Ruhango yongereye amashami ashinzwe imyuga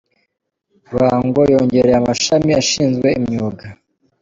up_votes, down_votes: 2, 0